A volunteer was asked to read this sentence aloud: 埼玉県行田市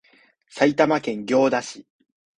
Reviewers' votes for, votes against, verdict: 2, 0, accepted